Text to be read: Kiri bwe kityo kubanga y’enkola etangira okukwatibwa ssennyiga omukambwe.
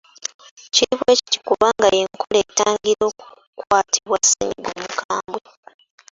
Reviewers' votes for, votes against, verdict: 1, 2, rejected